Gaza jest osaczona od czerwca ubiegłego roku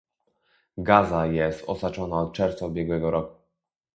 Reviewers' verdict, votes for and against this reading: rejected, 0, 2